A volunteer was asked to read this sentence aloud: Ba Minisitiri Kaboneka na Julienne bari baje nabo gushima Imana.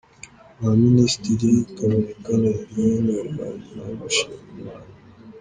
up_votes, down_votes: 0, 2